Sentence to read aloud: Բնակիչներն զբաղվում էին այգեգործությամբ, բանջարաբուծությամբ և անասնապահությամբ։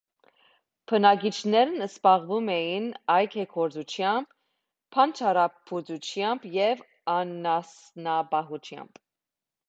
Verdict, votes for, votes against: accepted, 3, 2